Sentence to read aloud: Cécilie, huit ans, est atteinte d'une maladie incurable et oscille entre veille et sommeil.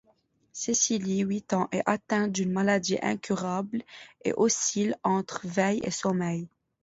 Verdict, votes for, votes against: accepted, 2, 0